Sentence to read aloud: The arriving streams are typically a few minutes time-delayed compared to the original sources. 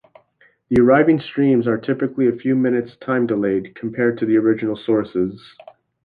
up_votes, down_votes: 2, 0